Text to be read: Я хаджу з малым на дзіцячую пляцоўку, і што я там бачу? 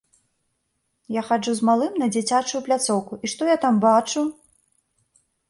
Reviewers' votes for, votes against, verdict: 2, 0, accepted